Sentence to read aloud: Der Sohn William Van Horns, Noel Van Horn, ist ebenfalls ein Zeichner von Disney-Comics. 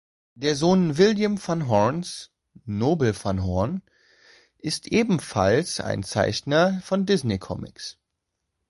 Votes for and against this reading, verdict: 0, 2, rejected